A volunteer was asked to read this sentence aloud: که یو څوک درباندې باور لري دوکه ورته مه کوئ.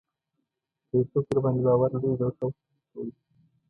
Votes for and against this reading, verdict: 1, 2, rejected